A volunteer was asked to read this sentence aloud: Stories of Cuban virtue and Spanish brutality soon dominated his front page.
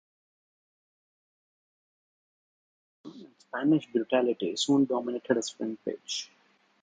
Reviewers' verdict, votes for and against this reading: rejected, 1, 2